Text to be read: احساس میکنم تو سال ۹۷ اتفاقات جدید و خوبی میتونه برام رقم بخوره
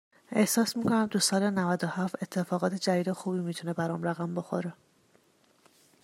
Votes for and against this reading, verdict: 0, 2, rejected